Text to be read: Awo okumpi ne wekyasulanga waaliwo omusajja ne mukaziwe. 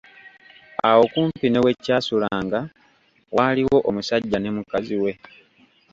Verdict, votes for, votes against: accepted, 2, 0